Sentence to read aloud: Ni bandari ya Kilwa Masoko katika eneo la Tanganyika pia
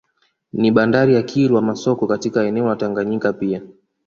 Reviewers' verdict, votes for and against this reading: accepted, 2, 0